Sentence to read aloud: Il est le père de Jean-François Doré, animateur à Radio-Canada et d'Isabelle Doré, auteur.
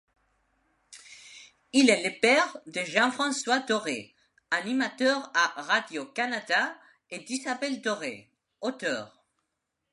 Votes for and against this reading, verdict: 2, 0, accepted